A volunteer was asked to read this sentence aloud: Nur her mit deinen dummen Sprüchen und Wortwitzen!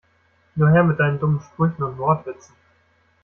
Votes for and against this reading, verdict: 1, 2, rejected